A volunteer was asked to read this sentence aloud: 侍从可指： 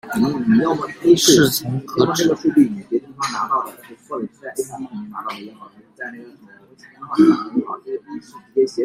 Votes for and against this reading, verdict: 0, 2, rejected